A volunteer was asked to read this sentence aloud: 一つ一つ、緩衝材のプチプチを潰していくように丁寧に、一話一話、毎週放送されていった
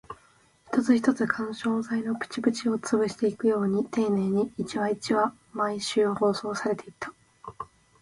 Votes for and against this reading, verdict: 2, 0, accepted